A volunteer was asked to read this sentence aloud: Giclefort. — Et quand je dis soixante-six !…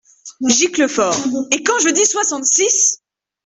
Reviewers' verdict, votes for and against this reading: accepted, 2, 0